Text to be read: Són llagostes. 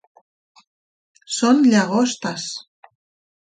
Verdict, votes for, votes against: accepted, 3, 0